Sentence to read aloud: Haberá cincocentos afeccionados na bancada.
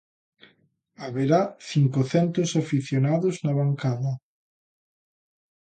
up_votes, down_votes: 0, 2